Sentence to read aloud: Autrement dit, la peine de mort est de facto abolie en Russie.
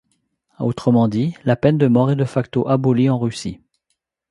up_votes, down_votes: 2, 0